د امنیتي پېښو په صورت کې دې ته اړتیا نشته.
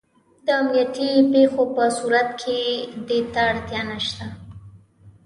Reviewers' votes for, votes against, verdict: 3, 0, accepted